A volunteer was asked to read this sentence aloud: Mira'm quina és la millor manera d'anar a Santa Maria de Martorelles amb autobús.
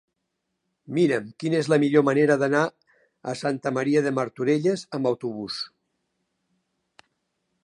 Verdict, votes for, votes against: accepted, 4, 0